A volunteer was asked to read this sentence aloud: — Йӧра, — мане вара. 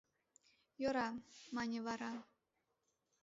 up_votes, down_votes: 2, 0